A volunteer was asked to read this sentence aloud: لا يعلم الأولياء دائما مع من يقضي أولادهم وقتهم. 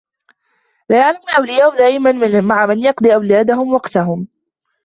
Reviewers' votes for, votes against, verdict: 0, 2, rejected